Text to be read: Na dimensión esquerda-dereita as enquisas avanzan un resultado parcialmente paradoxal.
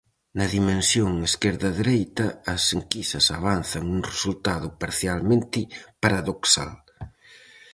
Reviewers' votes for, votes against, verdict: 2, 2, rejected